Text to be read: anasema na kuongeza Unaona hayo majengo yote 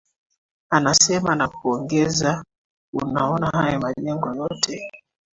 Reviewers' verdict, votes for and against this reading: accepted, 2, 0